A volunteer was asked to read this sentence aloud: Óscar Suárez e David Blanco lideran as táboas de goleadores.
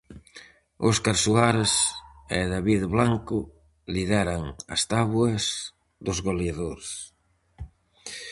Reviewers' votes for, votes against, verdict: 0, 4, rejected